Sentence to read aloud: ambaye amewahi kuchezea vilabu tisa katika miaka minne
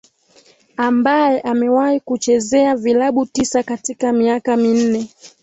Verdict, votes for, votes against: accepted, 2, 0